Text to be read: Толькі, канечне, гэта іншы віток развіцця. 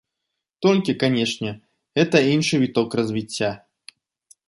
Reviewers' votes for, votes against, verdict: 2, 0, accepted